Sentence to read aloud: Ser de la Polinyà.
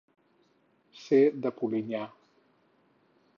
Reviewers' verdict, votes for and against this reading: rejected, 0, 4